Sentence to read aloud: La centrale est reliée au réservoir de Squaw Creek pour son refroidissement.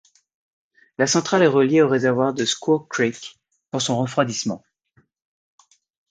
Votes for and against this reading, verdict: 2, 0, accepted